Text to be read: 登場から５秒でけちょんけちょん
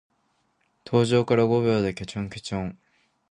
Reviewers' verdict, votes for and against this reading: rejected, 0, 2